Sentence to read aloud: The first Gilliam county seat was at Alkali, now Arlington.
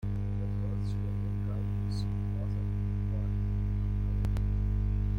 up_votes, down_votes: 0, 2